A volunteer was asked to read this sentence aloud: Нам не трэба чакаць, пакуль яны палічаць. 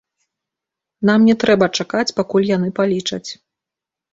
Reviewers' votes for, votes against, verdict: 2, 0, accepted